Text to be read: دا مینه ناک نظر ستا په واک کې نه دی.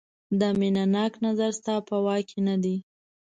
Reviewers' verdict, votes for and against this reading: accepted, 2, 0